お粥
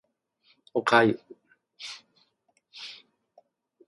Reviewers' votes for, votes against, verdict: 2, 0, accepted